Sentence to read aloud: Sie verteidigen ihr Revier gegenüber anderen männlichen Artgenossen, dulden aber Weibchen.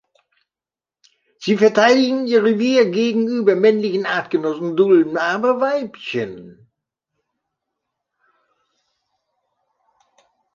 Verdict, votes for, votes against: rejected, 1, 2